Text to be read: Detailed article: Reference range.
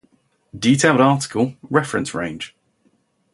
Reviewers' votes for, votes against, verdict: 0, 2, rejected